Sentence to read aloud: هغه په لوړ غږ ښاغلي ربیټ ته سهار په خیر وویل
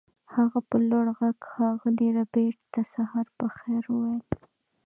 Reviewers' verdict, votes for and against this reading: accepted, 2, 1